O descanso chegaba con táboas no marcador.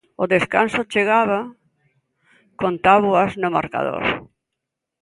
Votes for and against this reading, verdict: 2, 0, accepted